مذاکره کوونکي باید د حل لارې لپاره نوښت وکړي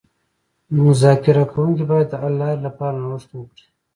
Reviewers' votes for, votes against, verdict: 1, 2, rejected